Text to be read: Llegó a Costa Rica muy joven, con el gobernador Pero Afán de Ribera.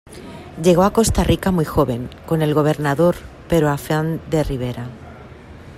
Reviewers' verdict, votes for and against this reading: accepted, 2, 0